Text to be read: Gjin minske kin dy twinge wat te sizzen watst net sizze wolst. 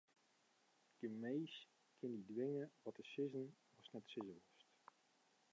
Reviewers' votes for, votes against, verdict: 0, 2, rejected